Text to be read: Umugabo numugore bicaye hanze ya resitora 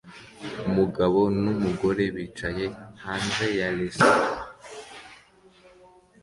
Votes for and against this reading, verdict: 2, 0, accepted